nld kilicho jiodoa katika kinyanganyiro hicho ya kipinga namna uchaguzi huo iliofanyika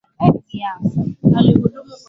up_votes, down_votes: 0, 2